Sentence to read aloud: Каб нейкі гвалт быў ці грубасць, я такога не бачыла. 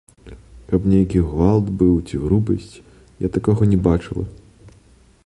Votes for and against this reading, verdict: 0, 2, rejected